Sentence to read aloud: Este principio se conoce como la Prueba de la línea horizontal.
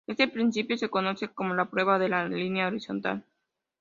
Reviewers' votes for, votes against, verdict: 2, 0, accepted